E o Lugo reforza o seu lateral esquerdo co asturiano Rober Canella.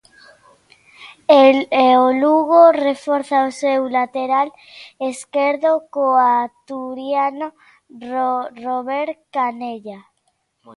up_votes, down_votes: 0, 2